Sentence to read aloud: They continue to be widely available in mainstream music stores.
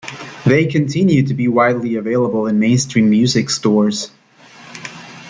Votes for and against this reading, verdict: 2, 0, accepted